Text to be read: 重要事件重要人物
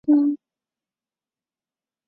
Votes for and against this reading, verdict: 1, 2, rejected